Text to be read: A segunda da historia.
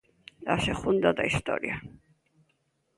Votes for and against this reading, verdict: 2, 0, accepted